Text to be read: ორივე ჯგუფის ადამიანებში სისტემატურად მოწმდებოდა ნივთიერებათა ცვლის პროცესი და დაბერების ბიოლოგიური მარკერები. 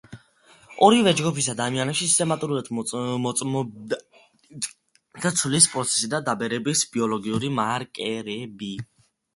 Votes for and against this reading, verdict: 0, 2, rejected